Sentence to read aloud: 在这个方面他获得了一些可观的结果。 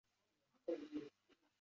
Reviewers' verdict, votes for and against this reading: rejected, 0, 3